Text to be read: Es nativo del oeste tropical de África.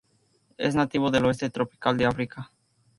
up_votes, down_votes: 2, 0